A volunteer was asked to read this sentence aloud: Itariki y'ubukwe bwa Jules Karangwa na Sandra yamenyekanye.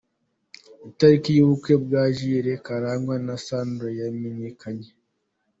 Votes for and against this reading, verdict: 3, 0, accepted